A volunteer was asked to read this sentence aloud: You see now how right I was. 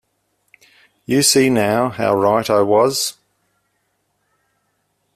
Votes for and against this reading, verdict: 2, 0, accepted